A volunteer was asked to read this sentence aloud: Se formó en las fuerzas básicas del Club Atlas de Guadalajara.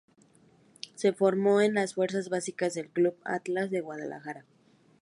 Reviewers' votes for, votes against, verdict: 2, 0, accepted